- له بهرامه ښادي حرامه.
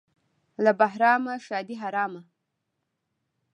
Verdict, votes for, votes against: rejected, 1, 2